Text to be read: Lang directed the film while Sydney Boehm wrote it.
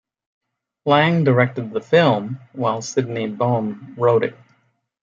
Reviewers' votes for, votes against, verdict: 3, 0, accepted